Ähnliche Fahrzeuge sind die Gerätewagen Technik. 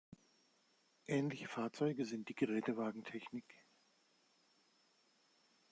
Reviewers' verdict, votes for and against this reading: accepted, 2, 0